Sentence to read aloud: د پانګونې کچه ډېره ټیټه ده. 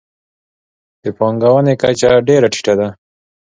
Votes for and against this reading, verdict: 3, 0, accepted